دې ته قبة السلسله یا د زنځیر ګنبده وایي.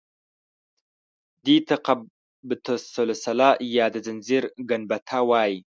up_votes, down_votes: 1, 2